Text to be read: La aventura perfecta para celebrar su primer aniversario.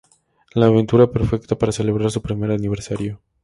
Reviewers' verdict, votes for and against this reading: accepted, 4, 0